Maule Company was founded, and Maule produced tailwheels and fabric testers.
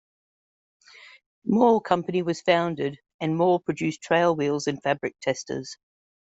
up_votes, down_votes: 0, 2